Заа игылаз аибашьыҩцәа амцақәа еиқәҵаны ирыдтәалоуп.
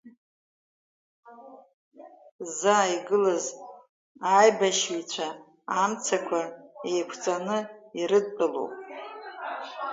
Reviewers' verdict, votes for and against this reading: rejected, 0, 2